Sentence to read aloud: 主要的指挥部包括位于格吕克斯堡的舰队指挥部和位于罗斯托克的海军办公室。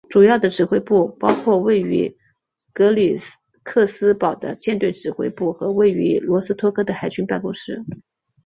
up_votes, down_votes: 2, 0